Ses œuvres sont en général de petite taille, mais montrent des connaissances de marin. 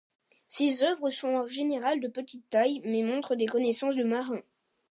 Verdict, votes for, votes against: accepted, 2, 0